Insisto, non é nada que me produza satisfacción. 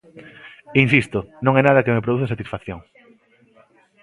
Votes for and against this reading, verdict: 2, 0, accepted